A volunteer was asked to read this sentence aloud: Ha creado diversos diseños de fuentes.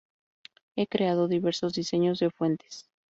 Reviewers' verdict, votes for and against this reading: rejected, 0, 2